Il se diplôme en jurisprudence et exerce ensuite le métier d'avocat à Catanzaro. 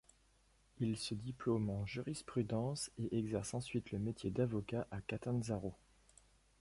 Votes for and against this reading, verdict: 1, 2, rejected